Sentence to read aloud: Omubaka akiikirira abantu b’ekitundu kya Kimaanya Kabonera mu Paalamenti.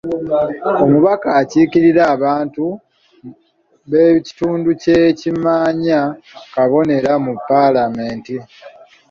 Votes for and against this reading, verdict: 1, 2, rejected